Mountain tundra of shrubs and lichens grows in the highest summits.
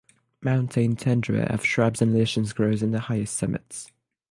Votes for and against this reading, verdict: 9, 0, accepted